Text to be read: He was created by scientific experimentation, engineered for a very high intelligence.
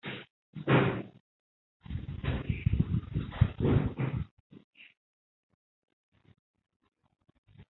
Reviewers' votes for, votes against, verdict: 0, 2, rejected